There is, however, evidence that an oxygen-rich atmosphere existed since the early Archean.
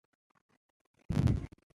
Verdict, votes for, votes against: rejected, 0, 2